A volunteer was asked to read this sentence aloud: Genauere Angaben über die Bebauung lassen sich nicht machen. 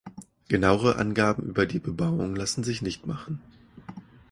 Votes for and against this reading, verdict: 2, 0, accepted